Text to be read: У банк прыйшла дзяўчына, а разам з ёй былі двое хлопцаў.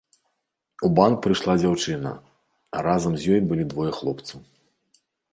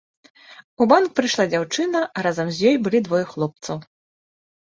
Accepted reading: second